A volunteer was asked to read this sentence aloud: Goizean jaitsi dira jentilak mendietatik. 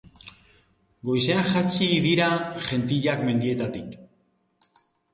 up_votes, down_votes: 0, 3